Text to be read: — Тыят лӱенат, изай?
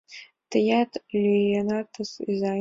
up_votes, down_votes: 2, 0